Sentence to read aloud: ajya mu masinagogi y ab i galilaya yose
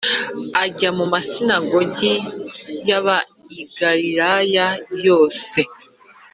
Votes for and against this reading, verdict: 3, 0, accepted